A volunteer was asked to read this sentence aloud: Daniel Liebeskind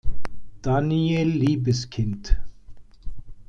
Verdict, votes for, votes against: rejected, 1, 2